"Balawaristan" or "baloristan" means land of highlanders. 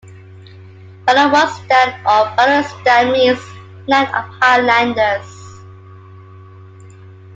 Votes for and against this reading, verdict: 0, 2, rejected